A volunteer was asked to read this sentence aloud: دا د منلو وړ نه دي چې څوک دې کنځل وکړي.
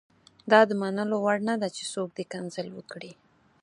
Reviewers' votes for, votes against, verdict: 4, 0, accepted